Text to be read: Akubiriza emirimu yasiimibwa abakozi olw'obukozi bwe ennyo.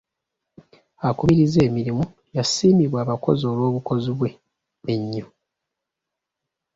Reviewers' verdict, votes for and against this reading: accepted, 3, 0